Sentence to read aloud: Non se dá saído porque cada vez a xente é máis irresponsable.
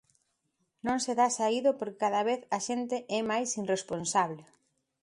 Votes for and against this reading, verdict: 2, 1, accepted